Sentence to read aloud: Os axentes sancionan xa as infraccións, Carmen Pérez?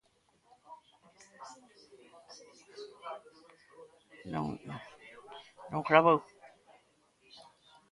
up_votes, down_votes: 0, 2